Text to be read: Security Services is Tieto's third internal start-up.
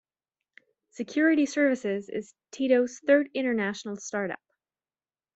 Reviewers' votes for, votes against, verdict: 1, 2, rejected